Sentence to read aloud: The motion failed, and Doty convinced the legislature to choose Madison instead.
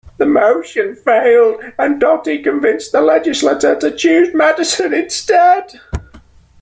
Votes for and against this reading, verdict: 2, 0, accepted